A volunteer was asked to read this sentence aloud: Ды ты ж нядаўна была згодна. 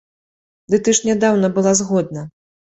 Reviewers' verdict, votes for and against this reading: accepted, 2, 0